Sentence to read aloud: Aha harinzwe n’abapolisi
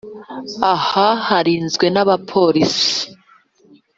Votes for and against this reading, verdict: 2, 0, accepted